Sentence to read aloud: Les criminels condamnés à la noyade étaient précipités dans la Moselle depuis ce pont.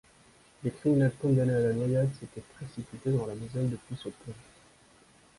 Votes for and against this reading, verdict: 2, 1, accepted